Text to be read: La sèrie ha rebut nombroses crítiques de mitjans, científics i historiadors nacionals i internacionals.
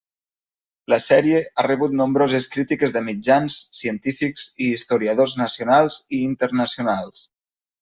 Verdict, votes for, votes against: accepted, 3, 0